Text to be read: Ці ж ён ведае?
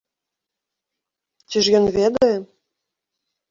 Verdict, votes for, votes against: rejected, 1, 2